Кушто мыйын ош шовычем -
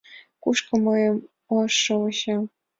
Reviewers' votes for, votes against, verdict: 2, 4, rejected